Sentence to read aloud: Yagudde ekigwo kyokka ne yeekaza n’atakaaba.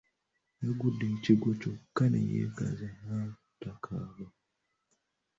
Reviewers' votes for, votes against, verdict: 1, 2, rejected